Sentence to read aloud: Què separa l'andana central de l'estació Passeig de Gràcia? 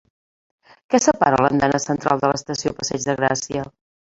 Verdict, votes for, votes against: accepted, 3, 1